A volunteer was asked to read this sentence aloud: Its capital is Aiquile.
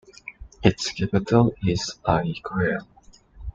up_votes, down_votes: 2, 1